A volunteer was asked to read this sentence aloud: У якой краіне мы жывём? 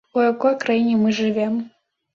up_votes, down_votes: 0, 2